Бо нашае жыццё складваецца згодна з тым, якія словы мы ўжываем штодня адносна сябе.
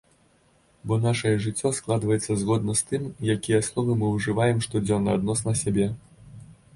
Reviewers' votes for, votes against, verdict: 1, 2, rejected